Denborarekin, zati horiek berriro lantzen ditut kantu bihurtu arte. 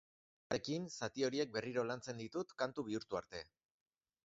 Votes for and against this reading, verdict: 0, 2, rejected